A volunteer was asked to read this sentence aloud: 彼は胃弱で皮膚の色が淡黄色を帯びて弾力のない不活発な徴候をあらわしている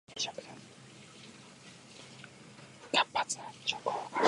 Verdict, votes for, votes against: rejected, 0, 2